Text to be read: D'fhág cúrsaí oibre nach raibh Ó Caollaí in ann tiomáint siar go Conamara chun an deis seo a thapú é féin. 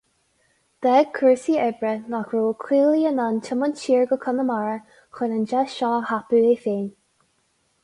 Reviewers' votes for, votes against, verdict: 4, 0, accepted